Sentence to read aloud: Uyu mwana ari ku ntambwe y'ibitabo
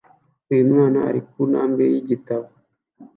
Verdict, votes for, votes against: accepted, 3, 0